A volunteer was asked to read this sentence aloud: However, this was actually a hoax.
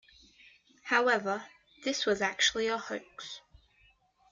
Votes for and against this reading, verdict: 2, 0, accepted